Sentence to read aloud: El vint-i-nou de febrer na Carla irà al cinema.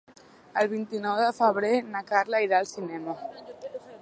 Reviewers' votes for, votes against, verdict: 4, 0, accepted